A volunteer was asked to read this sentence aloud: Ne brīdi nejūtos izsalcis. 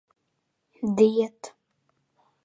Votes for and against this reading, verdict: 0, 2, rejected